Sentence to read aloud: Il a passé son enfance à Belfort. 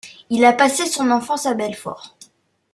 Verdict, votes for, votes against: accepted, 2, 0